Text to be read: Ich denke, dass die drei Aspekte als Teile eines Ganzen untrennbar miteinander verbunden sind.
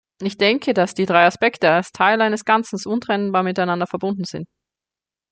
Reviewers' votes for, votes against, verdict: 1, 2, rejected